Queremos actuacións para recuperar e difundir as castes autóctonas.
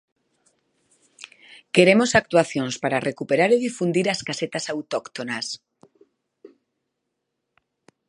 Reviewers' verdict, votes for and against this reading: rejected, 0, 2